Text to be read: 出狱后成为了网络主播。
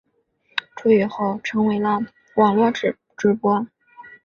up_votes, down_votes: 2, 1